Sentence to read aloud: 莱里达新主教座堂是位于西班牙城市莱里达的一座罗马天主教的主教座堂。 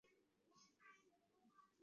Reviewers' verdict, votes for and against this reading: rejected, 0, 4